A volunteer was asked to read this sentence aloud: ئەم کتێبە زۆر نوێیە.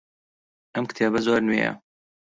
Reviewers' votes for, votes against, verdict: 2, 0, accepted